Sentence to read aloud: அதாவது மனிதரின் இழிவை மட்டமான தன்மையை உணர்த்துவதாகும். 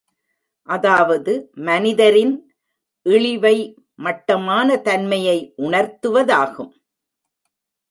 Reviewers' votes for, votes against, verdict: 2, 0, accepted